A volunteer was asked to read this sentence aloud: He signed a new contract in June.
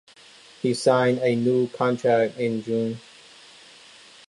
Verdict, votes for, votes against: accepted, 2, 0